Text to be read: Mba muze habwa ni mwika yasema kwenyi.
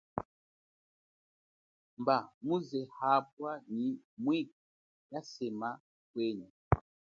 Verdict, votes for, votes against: rejected, 1, 2